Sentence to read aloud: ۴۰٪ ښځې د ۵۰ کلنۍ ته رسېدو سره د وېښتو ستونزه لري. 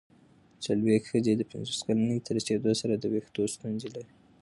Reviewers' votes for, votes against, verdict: 0, 2, rejected